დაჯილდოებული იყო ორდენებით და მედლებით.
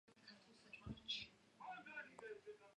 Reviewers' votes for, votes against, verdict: 0, 2, rejected